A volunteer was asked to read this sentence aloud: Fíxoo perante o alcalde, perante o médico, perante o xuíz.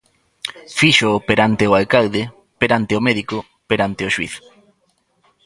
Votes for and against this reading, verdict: 1, 2, rejected